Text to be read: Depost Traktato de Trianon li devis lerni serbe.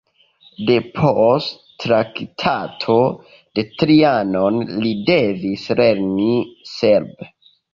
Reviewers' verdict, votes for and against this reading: accepted, 3, 0